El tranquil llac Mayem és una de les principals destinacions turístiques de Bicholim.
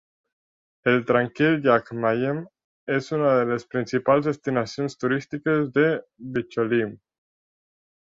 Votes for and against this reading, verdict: 2, 0, accepted